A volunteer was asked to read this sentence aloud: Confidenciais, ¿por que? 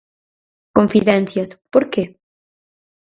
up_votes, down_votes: 2, 4